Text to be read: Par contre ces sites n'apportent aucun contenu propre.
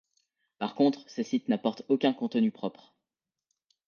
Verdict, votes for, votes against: accepted, 2, 0